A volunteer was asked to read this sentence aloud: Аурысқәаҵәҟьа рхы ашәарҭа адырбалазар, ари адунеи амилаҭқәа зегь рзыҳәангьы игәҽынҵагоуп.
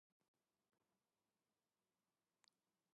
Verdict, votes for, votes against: rejected, 0, 2